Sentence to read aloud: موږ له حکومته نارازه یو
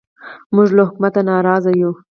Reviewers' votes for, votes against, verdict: 4, 0, accepted